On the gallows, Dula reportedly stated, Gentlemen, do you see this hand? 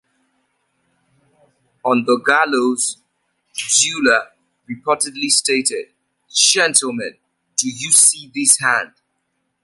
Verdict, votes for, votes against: accepted, 2, 0